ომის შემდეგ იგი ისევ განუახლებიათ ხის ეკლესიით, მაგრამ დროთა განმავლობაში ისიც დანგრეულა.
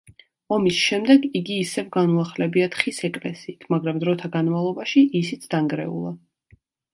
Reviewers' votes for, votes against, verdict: 3, 0, accepted